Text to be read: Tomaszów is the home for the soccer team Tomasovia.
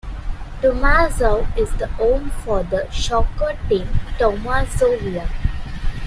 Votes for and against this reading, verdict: 0, 2, rejected